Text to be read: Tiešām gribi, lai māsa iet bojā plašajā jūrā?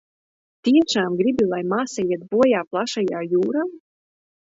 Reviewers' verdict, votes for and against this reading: rejected, 1, 2